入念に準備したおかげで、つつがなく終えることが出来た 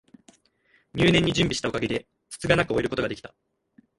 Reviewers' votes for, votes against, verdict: 1, 2, rejected